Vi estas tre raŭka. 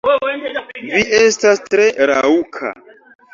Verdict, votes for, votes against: rejected, 0, 3